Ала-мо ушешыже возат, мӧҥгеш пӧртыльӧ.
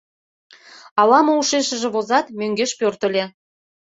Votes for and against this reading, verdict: 1, 2, rejected